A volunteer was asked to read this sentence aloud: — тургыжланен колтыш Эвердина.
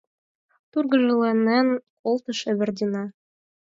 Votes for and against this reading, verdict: 4, 2, accepted